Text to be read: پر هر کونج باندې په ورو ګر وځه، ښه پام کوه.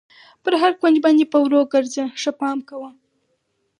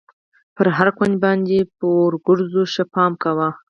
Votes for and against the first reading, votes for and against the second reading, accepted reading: 4, 0, 2, 4, first